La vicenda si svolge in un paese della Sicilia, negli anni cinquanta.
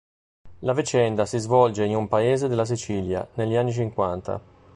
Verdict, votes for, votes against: rejected, 1, 2